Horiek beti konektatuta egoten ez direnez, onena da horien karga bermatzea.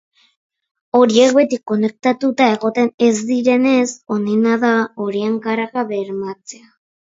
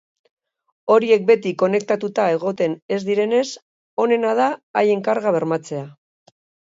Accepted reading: first